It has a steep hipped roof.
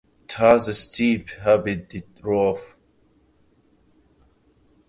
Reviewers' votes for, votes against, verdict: 1, 2, rejected